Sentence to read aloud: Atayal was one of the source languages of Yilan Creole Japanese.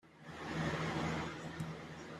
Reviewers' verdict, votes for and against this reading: rejected, 0, 3